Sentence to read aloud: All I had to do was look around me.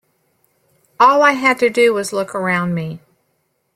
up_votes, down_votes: 2, 0